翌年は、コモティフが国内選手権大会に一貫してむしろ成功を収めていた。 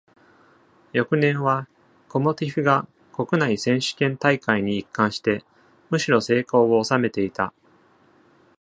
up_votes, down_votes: 2, 0